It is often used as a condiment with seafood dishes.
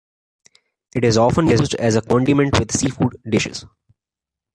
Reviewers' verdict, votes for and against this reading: rejected, 1, 2